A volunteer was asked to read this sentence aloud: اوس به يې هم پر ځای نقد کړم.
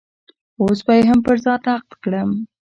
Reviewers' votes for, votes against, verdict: 2, 0, accepted